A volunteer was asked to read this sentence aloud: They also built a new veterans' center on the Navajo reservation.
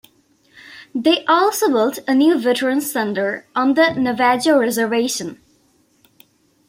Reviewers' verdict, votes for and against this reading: rejected, 0, 2